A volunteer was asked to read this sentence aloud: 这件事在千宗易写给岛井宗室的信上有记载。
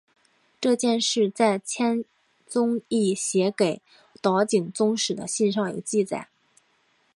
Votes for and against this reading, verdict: 2, 1, accepted